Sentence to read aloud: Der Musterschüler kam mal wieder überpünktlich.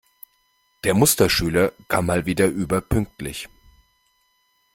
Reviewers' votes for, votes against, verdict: 2, 0, accepted